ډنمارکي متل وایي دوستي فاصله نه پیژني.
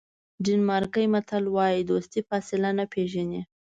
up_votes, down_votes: 2, 0